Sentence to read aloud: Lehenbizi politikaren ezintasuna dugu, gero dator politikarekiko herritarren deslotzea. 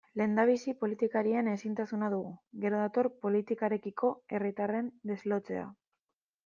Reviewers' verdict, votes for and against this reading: rejected, 0, 2